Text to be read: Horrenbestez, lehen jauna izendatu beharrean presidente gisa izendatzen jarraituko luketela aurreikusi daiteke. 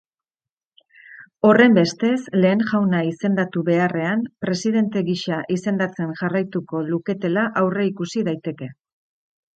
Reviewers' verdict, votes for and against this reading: rejected, 2, 2